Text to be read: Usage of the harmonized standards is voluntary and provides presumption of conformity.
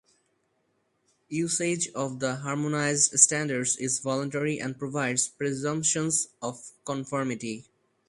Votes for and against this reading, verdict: 0, 2, rejected